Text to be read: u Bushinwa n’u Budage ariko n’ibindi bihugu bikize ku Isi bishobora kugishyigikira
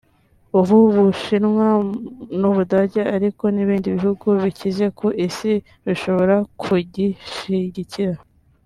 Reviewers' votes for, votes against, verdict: 2, 0, accepted